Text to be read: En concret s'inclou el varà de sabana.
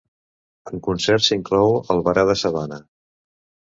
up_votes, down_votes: 1, 2